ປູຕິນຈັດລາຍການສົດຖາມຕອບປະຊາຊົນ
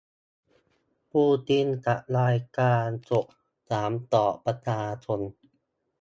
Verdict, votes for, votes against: rejected, 2, 4